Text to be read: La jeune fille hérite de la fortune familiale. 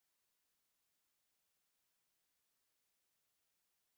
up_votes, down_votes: 0, 2